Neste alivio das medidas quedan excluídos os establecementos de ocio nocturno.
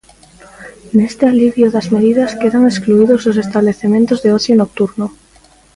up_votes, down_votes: 2, 1